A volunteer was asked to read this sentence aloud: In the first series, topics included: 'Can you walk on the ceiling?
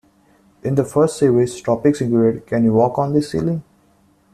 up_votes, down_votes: 2, 0